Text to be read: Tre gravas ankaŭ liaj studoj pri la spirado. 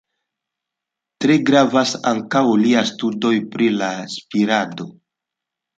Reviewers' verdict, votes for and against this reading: accepted, 2, 1